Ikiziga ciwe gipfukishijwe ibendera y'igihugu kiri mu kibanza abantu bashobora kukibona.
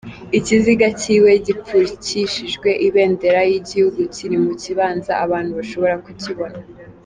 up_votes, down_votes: 2, 0